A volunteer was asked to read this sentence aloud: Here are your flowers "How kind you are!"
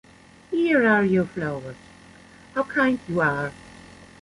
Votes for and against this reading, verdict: 2, 0, accepted